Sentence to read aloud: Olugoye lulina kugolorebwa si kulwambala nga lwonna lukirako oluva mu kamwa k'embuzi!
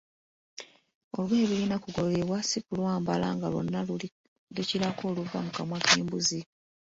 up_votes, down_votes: 0, 2